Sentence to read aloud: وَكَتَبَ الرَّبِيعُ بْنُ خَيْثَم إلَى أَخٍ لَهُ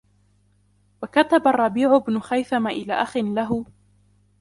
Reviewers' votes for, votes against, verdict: 2, 0, accepted